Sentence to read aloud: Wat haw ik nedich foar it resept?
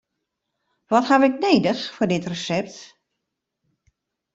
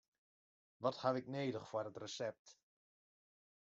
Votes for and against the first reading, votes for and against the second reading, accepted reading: 0, 2, 3, 2, second